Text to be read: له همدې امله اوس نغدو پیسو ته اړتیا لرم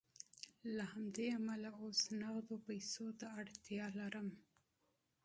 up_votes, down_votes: 2, 0